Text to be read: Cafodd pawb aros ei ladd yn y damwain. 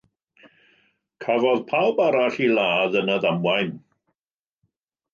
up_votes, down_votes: 0, 2